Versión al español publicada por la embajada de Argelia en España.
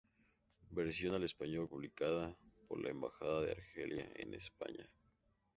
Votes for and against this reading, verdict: 0, 2, rejected